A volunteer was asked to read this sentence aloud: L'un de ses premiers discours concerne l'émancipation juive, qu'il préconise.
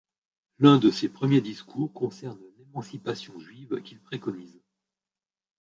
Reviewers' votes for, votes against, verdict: 0, 2, rejected